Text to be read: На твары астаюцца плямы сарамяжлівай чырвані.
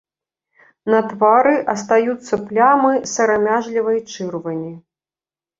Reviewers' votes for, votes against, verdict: 1, 2, rejected